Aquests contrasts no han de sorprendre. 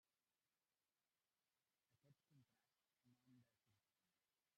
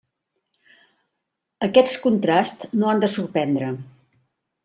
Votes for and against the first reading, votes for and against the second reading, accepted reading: 0, 2, 3, 0, second